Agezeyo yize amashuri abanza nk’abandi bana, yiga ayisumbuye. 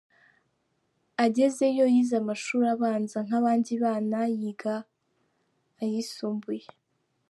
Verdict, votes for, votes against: accepted, 3, 0